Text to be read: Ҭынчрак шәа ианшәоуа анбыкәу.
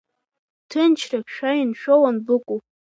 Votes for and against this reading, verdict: 2, 0, accepted